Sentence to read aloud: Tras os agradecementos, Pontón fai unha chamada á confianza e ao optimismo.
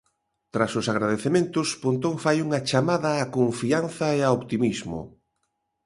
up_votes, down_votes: 2, 0